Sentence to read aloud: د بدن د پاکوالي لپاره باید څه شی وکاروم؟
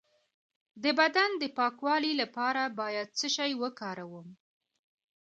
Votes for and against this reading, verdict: 1, 2, rejected